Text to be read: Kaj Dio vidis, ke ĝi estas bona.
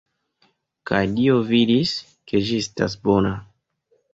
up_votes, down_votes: 1, 2